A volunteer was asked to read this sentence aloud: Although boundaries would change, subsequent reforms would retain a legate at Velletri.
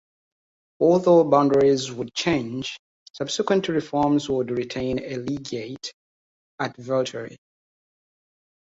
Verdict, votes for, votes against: rejected, 1, 2